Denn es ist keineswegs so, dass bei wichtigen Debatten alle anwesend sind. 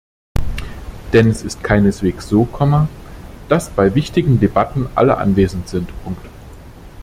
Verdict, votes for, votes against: rejected, 1, 2